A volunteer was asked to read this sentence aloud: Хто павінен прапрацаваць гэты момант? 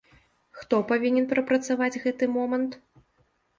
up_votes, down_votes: 2, 0